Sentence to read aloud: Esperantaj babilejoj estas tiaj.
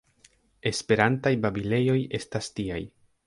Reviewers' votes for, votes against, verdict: 0, 3, rejected